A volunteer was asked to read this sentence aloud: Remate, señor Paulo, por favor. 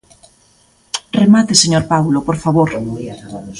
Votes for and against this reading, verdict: 2, 1, accepted